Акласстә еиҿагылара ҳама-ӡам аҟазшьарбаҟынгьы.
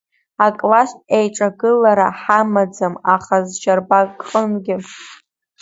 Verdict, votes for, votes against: rejected, 2, 3